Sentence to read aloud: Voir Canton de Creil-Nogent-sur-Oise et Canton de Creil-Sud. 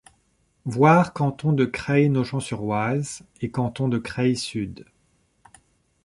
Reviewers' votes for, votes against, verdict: 2, 0, accepted